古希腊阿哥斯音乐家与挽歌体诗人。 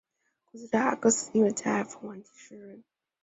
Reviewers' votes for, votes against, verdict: 1, 2, rejected